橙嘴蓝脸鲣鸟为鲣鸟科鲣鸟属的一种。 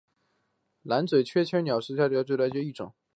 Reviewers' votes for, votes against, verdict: 1, 2, rejected